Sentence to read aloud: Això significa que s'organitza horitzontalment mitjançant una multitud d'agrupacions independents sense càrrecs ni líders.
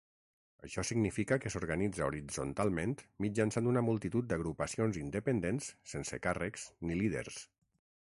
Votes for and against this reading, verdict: 6, 0, accepted